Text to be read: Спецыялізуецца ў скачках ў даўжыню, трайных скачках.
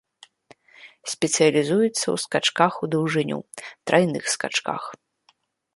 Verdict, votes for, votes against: accepted, 3, 0